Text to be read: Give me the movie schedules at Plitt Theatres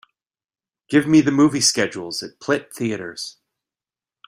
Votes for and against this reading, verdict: 2, 0, accepted